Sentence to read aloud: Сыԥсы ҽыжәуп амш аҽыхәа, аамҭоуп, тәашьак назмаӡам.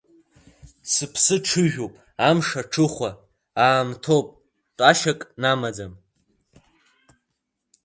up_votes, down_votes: 1, 2